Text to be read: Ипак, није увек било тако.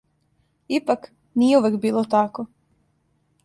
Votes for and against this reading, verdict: 2, 0, accepted